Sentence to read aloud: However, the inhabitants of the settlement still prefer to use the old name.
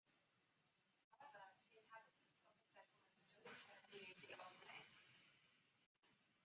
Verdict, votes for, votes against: rejected, 0, 2